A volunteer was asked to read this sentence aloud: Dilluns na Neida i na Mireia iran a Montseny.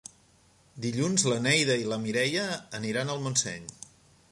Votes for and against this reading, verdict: 1, 3, rejected